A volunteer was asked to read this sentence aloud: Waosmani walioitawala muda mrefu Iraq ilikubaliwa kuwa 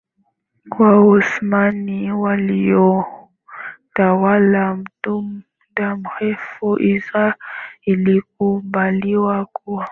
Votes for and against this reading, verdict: 0, 2, rejected